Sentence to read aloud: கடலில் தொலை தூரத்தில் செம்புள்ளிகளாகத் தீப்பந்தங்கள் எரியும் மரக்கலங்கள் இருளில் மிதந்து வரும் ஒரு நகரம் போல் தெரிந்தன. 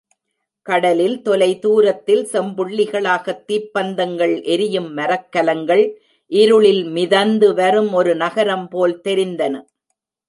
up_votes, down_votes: 2, 0